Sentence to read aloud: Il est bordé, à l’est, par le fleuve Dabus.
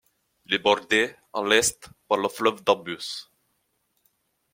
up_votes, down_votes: 1, 2